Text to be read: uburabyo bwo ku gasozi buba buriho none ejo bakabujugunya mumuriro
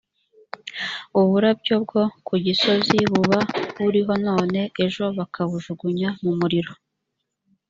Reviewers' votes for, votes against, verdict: 0, 2, rejected